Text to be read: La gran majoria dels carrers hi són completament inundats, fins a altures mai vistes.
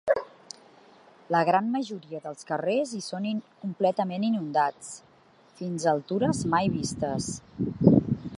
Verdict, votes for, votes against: rejected, 1, 3